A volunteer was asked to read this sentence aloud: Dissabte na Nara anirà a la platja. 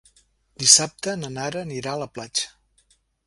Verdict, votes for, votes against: accepted, 2, 0